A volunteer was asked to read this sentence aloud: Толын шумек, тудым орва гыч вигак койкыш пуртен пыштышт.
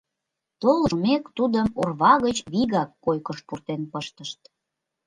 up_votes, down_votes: 1, 2